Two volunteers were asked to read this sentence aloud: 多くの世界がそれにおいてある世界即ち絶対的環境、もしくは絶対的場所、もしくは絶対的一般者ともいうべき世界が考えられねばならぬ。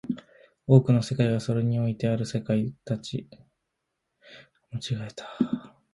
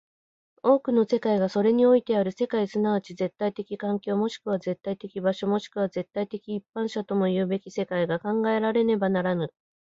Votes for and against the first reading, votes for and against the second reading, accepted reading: 0, 2, 2, 0, second